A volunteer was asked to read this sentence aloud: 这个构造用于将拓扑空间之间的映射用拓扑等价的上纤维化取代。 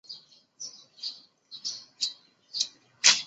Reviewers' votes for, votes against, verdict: 0, 4, rejected